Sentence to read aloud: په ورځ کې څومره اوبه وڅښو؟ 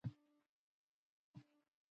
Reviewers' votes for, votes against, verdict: 1, 2, rejected